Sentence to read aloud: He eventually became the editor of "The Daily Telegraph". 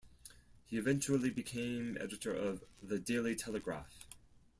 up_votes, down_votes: 0, 4